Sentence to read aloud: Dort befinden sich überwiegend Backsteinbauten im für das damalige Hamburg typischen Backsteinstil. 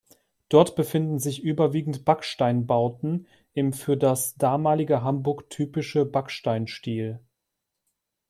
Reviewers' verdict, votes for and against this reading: rejected, 0, 2